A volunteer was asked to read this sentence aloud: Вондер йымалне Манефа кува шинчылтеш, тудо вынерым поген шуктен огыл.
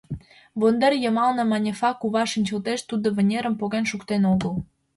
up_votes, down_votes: 2, 0